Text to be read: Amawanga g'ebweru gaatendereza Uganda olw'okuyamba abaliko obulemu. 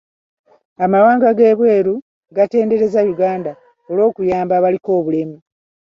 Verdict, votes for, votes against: accepted, 2, 0